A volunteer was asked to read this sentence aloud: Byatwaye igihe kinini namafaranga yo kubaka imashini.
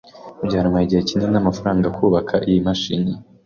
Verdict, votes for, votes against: rejected, 1, 2